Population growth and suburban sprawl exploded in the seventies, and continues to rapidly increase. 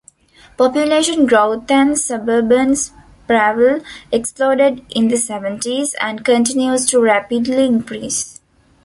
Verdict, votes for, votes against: rejected, 0, 2